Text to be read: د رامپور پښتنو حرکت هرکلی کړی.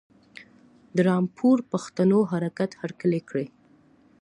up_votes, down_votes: 2, 0